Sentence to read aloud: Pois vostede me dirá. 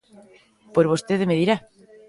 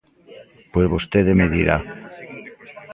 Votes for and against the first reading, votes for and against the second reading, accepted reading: 2, 0, 1, 2, first